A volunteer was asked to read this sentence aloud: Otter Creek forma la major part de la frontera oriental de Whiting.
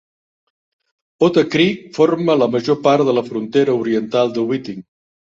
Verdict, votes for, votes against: accepted, 4, 0